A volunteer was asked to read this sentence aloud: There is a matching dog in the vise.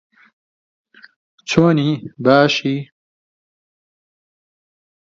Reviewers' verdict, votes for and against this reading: rejected, 0, 2